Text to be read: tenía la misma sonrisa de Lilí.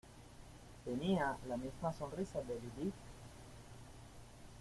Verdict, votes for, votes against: accepted, 2, 1